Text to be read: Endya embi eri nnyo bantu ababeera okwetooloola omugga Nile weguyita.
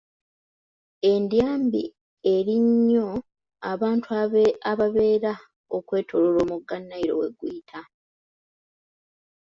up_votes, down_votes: 1, 2